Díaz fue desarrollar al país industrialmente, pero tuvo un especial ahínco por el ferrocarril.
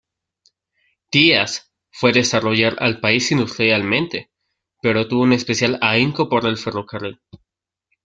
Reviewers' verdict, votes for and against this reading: accepted, 2, 1